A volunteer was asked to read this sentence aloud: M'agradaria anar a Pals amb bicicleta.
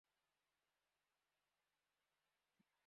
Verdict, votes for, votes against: rejected, 0, 3